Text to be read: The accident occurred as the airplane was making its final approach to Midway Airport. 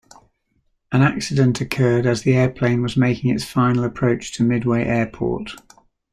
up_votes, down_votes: 0, 2